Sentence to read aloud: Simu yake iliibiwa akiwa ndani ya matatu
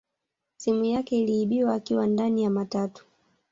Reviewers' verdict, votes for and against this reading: rejected, 0, 2